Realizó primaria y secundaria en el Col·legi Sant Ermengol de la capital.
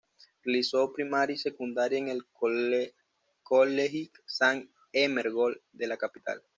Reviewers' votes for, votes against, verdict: 1, 2, rejected